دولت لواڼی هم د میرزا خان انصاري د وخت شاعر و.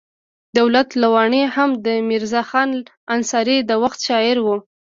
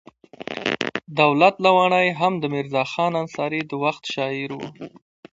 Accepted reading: second